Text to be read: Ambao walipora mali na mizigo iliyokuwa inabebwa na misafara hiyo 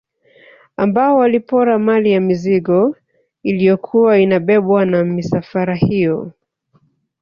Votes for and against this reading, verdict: 4, 3, accepted